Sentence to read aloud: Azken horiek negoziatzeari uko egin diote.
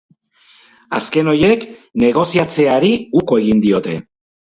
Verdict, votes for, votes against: rejected, 0, 2